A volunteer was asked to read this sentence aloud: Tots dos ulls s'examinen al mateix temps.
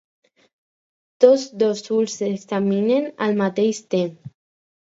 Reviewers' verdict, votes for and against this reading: accepted, 4, 0